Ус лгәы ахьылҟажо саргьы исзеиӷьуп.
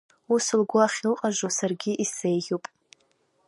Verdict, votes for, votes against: accepted, 2, 1